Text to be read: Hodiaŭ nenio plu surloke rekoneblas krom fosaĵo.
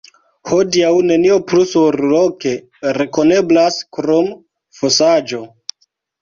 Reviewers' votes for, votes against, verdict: 0, 2, rejected